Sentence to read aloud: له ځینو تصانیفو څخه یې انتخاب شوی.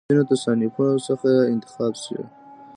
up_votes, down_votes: 1, 2